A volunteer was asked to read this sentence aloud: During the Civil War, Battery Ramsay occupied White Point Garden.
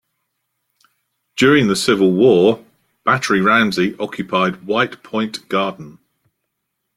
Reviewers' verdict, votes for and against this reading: accepted, 2, 0